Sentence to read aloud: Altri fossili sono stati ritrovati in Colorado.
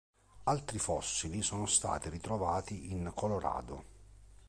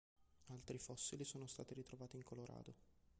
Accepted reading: first